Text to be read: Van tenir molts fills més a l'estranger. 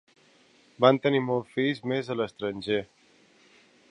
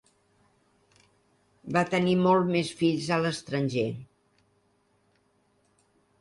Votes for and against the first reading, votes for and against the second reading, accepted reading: 2, 0, 0, 2, first